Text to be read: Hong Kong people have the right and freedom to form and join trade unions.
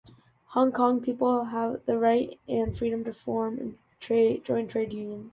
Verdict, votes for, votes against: accepted, 2, 1